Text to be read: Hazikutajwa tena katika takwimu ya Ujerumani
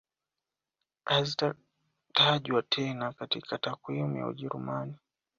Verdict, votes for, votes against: rejected, 1, 2